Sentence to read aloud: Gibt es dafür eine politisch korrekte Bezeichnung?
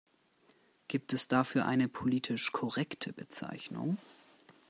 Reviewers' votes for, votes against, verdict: 2, 0, accepted